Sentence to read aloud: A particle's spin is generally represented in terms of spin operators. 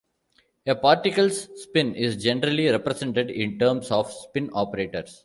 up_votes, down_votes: 2, 0